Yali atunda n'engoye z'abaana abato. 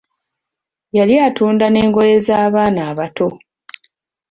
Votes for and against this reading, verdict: 2, 0, accepted